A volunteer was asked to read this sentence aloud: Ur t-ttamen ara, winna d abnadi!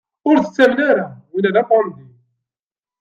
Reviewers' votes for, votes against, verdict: 2, 0, accepted